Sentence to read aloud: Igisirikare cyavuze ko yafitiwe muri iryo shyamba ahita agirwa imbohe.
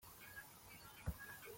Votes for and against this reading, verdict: 0, 2, rejected